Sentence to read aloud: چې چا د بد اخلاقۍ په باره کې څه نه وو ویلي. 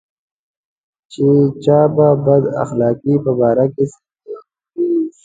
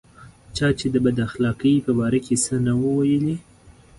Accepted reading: second